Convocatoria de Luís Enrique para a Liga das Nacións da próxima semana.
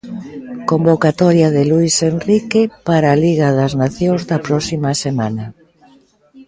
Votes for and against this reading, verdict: 1, 2, rejected